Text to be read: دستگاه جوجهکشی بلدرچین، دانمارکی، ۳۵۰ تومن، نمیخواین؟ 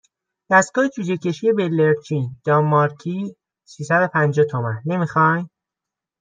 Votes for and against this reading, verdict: 0, 2, rejected